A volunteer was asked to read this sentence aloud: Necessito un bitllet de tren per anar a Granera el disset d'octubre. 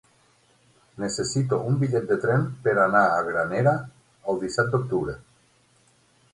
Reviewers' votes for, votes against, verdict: 9, 3, accepted